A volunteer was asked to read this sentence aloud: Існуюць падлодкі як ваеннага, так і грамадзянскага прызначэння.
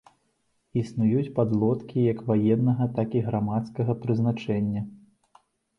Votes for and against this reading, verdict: 0, 2, rejected